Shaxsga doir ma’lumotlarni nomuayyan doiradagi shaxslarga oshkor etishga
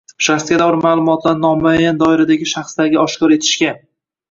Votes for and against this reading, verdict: 1, 2, rejected